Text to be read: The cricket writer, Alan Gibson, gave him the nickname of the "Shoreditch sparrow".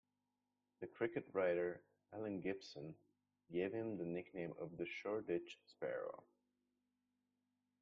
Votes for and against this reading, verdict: 2, 0, accepted